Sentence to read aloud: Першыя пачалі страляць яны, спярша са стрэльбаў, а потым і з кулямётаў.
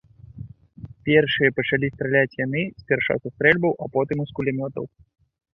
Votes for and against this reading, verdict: 2, 0, accepted